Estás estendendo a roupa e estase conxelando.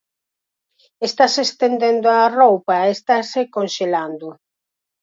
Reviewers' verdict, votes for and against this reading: rejected, 0, 4